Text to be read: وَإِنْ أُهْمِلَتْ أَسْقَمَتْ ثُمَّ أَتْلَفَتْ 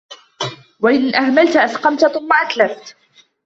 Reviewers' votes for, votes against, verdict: 2, 1, accepted